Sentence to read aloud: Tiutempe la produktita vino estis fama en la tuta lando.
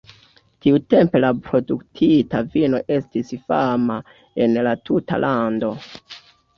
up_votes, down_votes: 2, 0